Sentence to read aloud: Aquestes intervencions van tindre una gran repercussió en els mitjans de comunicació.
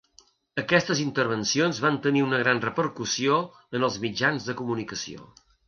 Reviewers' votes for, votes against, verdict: 1, 2, rejected